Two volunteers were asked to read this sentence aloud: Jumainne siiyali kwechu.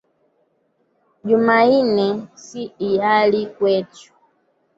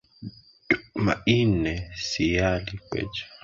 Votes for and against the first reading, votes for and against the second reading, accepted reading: 2, 0, 0, 2, first